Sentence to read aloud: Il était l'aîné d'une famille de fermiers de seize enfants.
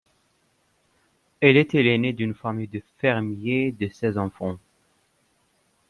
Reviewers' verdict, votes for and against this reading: rejected, 1, 2